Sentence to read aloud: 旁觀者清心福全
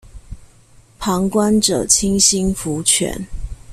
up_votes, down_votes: 2, 0